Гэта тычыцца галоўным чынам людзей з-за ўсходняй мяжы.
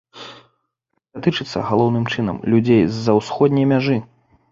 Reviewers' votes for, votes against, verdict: 0, 2, rejected